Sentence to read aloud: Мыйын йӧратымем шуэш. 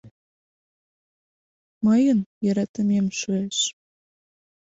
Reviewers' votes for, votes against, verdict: 2, 0, accepted